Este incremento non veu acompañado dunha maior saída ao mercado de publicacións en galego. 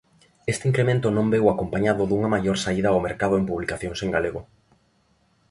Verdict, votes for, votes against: rejected, 1, 2